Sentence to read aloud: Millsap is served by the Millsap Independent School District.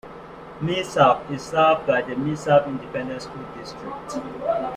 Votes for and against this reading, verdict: 1, 2, rejected